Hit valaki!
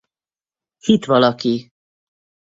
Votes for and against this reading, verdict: 2, 2, rejected